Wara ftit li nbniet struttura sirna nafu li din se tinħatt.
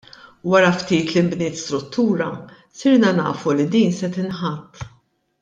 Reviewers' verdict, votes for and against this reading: accepted, 2, 0